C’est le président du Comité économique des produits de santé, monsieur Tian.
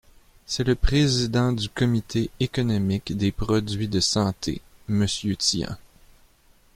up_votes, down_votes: 2, 0